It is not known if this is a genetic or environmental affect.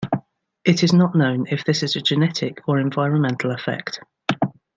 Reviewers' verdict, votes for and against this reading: rejected, 1, 2